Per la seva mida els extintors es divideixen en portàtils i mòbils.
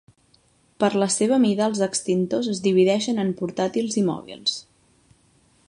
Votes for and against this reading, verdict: 3, 0, accepted